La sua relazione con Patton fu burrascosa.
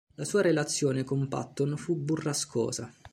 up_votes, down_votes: 2, 0